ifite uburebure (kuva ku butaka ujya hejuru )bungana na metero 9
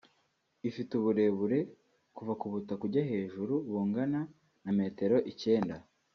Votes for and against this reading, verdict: 0, 2, rejected